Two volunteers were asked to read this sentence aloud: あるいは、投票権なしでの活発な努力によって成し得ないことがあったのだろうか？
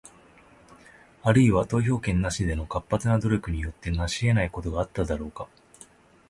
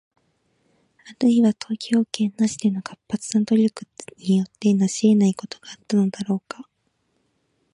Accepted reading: first